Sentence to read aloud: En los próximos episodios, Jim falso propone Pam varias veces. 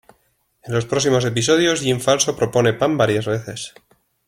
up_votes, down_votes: 2, 0